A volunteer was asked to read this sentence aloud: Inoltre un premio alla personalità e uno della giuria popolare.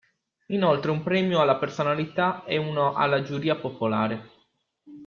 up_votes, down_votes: 1, 2